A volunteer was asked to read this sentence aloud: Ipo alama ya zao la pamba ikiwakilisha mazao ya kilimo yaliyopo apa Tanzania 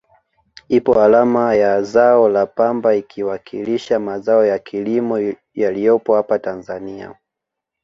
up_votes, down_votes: 2, 0